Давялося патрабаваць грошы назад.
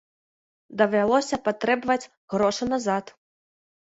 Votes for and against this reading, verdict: 0, 2, rejected